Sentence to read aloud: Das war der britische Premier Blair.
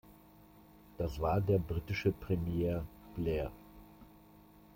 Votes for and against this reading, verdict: 2, 0, accepted